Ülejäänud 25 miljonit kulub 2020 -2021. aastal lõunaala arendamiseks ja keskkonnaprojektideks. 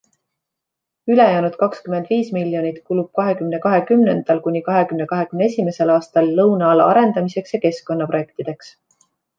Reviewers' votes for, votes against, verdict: 0, 2, rejected